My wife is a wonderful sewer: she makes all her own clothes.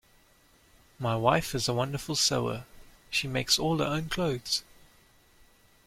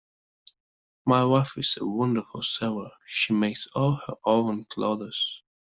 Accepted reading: first